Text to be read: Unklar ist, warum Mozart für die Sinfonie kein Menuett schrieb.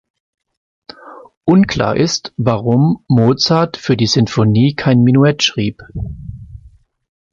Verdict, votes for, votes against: accepted, 2, 0